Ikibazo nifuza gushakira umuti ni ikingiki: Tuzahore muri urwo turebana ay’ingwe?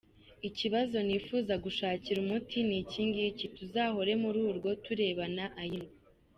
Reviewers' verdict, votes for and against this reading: accepted, 2, 0